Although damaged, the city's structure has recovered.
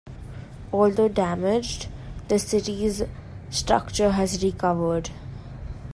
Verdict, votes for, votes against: accepted, 2, 0